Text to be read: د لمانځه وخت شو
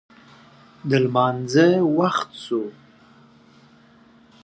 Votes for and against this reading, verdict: 2, 0, accepted